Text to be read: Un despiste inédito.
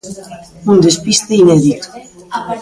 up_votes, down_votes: 2, 0